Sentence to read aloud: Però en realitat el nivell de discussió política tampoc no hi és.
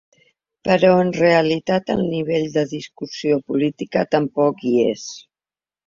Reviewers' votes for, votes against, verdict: 0, 2, rejected